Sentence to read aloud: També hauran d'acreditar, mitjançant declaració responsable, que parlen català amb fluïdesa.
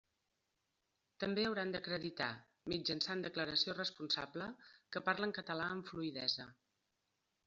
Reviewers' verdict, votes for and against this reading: accepted, 2, 0